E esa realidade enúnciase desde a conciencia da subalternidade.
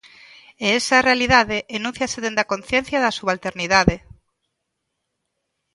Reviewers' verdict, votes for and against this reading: accepted, 2, 0